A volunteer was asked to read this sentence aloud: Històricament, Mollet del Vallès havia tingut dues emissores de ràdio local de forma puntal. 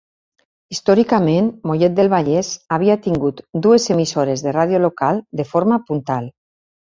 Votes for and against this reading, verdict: 3, 0, accepted